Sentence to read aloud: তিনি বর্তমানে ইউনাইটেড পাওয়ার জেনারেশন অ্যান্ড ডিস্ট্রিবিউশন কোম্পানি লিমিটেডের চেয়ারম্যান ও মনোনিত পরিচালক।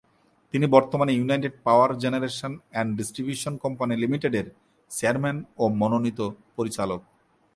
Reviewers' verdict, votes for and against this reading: accepted, 4, 0